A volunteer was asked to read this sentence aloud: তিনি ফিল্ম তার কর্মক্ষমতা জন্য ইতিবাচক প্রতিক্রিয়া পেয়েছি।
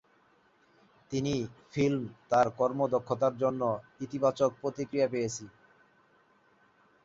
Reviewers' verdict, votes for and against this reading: rejected, 0, 2